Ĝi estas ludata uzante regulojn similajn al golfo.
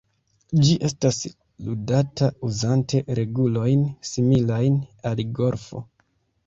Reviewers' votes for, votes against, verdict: 2, 0, accepted